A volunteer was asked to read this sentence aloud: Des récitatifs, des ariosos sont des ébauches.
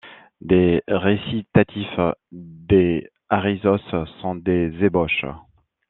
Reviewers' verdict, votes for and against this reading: accepted, 2, 1